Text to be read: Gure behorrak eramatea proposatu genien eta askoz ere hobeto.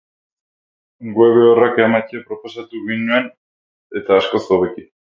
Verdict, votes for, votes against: rejected, 4, 8